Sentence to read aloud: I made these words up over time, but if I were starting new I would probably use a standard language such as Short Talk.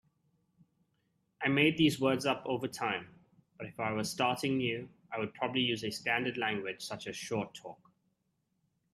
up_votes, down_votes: 2, 0